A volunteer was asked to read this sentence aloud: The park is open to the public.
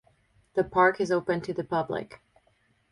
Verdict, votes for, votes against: rejected, 2, 2